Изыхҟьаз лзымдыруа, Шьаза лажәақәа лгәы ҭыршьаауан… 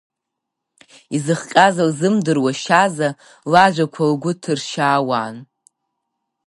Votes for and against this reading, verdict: 6, 3, accepted